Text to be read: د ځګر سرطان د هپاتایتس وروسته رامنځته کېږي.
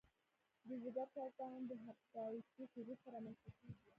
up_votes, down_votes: 1, 2